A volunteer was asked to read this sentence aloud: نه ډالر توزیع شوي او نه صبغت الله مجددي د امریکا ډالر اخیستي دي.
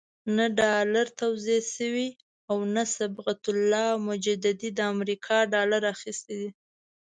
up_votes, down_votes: 2, 0